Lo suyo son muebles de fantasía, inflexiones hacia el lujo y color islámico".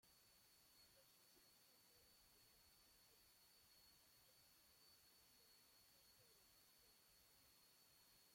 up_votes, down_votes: 0, 2